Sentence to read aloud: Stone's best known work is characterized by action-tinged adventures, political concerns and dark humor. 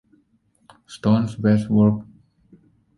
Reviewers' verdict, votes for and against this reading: rejected, 0, 2